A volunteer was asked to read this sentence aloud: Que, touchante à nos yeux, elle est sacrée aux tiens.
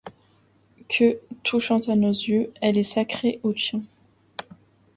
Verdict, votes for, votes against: accepted, 2, 0